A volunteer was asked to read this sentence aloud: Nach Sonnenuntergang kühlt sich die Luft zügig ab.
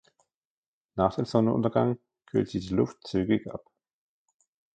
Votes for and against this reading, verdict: 0, 2, rejected